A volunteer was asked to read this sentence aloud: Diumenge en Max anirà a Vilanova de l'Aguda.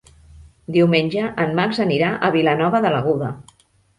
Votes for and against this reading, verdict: 4, 0, accepted